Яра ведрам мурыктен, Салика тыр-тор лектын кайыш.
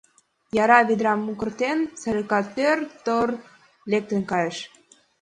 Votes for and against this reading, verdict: 1, 2, rejected